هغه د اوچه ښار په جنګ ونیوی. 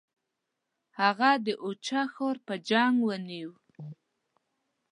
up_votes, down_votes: 0, 2